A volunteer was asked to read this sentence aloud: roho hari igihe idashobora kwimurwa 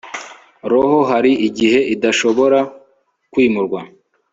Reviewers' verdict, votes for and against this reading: accepted, 2, 0